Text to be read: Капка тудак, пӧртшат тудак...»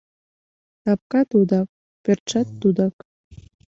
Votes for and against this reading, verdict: 2, 0, accepted